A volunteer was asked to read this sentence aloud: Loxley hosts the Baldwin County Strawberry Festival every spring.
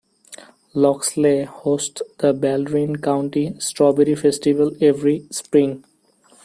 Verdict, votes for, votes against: accepted, 2, 0